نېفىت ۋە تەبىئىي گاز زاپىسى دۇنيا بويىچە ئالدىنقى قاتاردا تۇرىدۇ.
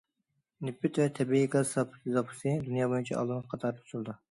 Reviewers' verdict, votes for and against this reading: rejected, 0, 2